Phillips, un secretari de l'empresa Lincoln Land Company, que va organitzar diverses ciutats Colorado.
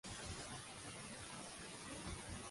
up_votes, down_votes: 0, 2